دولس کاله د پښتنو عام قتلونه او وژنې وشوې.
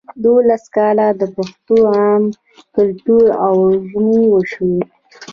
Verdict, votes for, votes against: rejected, 1, 2